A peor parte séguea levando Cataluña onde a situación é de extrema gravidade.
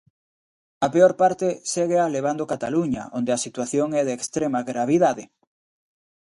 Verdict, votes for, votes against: accepted, 2, 0